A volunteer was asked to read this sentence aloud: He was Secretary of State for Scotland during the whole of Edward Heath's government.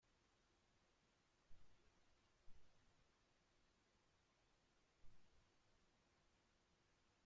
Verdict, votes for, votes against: rejected, 0, 2